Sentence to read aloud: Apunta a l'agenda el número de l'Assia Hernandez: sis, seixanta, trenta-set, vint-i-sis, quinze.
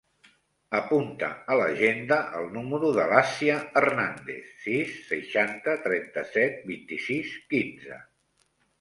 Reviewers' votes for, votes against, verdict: 1, 2, rejected